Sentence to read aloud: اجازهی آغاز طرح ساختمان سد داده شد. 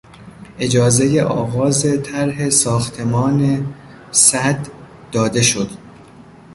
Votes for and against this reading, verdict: 1, 2, rejected